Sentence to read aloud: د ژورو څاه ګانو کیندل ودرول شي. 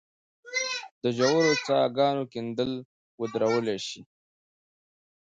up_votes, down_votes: 1, 2